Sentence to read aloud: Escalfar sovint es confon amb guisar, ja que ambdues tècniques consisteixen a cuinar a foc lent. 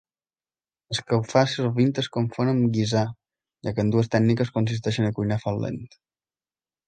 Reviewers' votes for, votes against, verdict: 2, 0, accepted